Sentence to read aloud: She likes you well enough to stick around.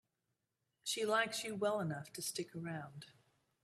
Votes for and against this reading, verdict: 2, 0, accepted